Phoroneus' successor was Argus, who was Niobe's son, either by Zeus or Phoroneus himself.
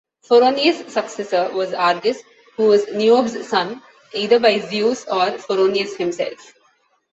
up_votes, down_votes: 1, 2